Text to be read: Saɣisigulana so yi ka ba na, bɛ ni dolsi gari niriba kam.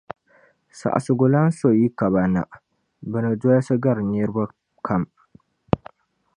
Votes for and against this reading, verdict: 2, 0, accepted